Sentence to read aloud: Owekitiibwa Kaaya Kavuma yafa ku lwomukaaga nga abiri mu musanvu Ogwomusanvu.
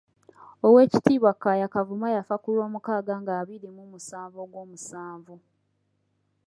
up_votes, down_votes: 2, 0